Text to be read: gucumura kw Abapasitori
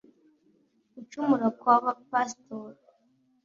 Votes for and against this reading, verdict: 2, 0, accepted